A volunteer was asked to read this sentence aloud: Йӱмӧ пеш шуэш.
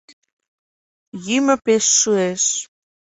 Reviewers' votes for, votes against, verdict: 2, 0, accepted